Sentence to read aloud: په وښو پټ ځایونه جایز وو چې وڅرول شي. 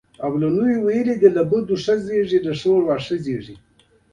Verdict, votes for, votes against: accepted, 2, 0